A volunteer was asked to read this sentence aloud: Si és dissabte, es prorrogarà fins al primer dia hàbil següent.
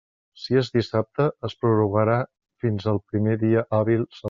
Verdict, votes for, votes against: rejected, 1, 2